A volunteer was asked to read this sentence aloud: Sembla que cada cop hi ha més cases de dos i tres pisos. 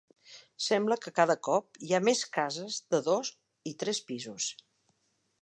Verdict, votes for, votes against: accepted, 3, 0